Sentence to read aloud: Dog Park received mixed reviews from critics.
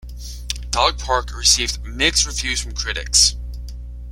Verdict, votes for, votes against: accepted, 2, 0